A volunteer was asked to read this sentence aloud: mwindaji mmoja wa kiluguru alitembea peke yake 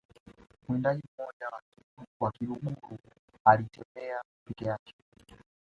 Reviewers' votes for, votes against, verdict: 1, 2, rejected